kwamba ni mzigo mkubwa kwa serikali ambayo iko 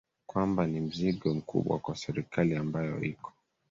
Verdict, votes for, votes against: accepted, 3, 1